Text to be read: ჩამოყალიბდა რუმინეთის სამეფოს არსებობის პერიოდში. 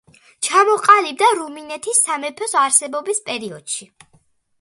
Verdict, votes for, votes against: accepted, 2, 0